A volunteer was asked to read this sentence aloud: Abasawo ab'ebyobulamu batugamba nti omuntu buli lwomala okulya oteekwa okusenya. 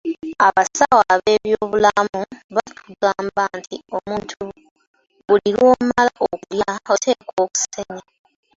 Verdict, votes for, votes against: rejected, 1, 2